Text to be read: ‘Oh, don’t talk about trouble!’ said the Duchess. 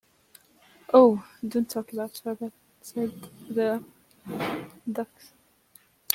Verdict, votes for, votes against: rejected, 1, 2